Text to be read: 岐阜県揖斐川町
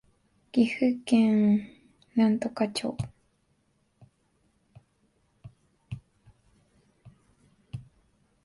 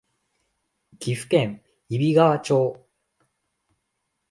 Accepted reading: second